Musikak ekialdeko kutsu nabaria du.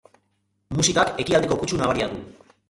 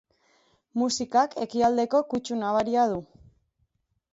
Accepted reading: second